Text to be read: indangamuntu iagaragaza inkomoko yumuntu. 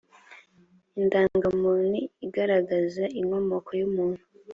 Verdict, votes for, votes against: accepted, 2, 0